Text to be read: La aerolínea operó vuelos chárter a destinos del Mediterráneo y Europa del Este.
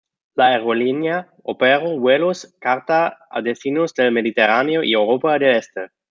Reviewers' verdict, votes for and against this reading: rejected, 0, 2